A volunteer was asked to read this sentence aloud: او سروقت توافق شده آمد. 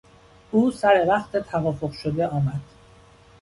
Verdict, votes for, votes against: accepted, 2, 0